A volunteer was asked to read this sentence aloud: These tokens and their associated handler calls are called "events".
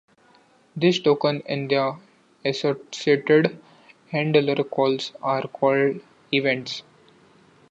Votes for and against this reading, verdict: 2, 1, accepted